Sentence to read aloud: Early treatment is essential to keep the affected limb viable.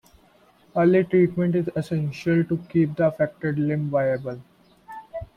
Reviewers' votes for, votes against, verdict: 2, 0, accepted